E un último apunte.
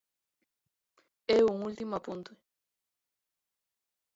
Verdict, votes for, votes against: rejected, 0, 2